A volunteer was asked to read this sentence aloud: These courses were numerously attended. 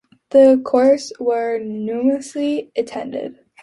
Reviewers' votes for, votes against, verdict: 2, 1, accepted